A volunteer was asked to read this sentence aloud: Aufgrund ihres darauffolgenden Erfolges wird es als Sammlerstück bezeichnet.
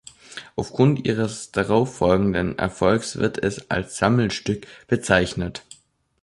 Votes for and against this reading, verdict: 0, 2, rejected